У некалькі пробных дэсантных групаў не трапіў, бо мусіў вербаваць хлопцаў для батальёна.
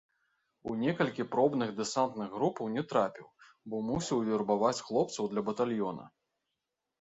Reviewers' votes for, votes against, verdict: 1, 2, rejected